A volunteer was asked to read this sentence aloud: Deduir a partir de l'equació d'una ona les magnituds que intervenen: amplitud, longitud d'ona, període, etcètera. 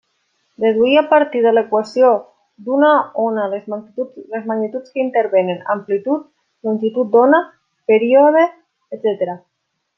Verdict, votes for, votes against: rejected, 1, 2